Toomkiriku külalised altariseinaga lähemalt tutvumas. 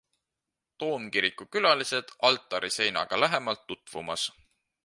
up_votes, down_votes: 2, 0